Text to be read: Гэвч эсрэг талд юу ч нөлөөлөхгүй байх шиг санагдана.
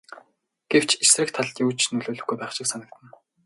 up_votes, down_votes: 2, 0